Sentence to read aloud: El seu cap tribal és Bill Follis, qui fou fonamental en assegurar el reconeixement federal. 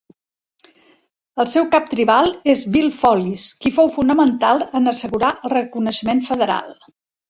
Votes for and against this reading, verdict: 2, 0, accepted